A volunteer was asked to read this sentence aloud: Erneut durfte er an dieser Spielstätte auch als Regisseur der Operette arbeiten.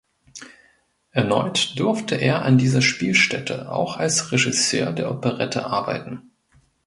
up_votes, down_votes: 2, 0